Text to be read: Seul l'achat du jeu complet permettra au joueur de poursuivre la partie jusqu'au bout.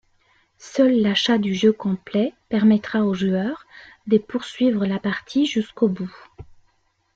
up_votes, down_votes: 2, 0